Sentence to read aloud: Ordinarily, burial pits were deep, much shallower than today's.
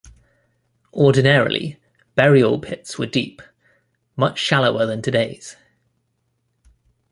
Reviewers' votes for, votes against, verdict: 2, 0, accepted